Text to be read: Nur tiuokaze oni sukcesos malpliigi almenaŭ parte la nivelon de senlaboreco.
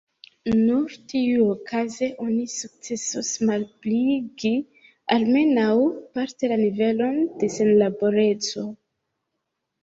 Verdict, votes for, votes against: rejected, 1, 2